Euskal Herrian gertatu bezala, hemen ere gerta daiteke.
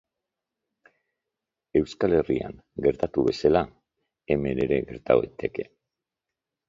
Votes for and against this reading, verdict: 3, 0, accepted